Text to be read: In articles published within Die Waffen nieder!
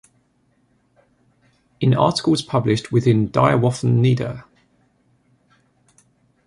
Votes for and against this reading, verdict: 0, 2, rejected